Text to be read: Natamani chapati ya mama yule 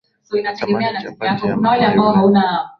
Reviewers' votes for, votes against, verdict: 0, 2, rejected